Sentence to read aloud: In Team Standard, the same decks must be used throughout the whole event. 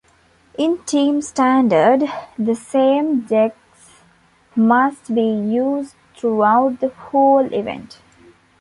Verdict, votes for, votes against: accepted, 2, 0